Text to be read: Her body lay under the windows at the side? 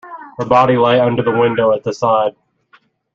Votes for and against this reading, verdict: 1, 2, rejected